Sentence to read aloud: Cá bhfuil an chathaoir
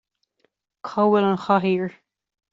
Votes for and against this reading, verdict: 2, 0, accepted